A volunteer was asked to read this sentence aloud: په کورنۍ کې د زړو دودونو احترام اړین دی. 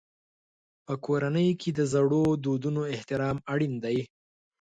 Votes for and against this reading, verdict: 4, 0, accepted